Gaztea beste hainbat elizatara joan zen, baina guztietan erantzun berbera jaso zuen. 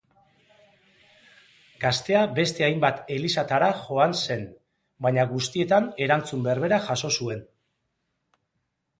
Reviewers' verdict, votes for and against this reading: accepted, 2, 0